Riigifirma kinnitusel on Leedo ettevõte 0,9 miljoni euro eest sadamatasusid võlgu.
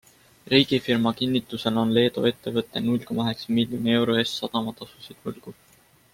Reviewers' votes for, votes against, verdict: 0, 2, rejected